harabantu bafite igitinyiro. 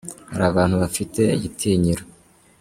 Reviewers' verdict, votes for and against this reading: accepted, 2, 0